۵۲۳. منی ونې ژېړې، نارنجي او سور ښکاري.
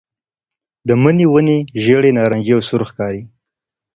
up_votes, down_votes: 0, 2